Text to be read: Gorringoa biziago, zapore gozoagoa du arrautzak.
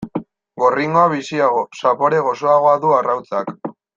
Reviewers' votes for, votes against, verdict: 3, 0, accepted